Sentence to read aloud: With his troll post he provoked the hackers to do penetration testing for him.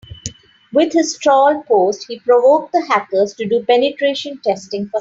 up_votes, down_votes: 2, 3